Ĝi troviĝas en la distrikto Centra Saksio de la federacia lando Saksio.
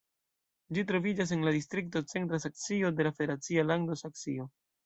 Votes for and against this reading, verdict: 1, 2, rejected